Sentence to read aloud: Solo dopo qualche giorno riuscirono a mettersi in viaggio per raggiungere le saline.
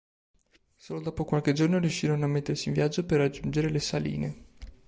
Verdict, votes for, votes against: accepted, 4, 0